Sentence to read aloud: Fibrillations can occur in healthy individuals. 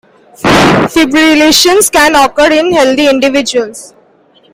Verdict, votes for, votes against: accepted, 2, 0